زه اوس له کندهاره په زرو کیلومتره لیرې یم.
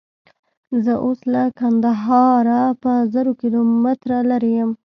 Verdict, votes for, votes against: accepted, 2, 0